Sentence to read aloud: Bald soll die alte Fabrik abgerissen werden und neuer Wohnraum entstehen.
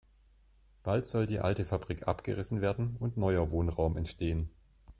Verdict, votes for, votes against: accepted, 2, 0